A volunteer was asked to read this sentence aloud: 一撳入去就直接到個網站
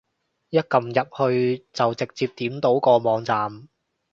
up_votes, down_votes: 0, 2